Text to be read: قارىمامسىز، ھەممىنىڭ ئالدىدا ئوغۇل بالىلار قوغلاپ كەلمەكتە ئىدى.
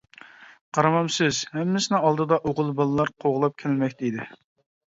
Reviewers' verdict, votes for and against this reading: rejected, 0, 2